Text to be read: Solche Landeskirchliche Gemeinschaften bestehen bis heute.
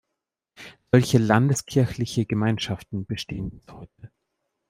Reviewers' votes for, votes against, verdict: 1, 2, rejected